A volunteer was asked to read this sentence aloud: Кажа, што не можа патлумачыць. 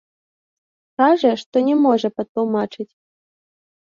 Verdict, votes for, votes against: accepted, 2, 0